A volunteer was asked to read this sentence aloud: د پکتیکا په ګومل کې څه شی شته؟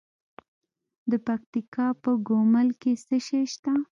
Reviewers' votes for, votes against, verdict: 0, 2, rejected